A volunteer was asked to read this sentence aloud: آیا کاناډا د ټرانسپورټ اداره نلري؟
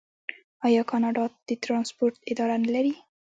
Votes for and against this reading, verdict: 0, 2, rejected